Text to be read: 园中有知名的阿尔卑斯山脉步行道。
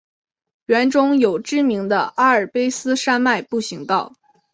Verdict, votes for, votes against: accepted, 2, 0